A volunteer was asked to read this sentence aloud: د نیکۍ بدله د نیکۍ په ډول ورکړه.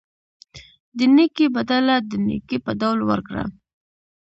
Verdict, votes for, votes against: rejected, 0, 2